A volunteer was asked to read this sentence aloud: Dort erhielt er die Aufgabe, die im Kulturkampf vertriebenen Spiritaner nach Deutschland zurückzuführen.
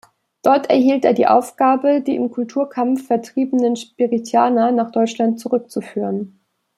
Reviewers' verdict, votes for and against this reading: accepted, 2, 0